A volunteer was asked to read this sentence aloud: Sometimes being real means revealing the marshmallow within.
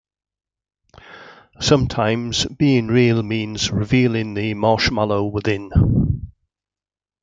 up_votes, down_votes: 2, 0